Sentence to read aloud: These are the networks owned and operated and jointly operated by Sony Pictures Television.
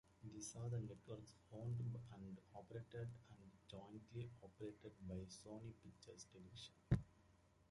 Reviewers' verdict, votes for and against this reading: rejected, 1, 2